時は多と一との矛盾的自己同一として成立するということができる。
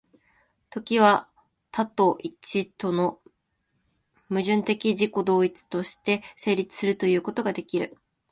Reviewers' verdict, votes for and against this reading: accepted, 2, 0